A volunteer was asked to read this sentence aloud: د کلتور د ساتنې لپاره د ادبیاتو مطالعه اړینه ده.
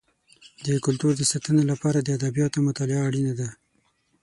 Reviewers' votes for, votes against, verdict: 6, 0, accepted